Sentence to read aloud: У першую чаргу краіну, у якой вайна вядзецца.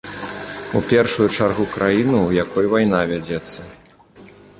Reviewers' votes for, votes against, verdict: 2, 0, accepted